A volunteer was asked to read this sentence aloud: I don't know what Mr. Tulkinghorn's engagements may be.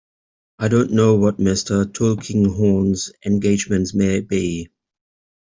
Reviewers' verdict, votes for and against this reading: accepted, 2, 0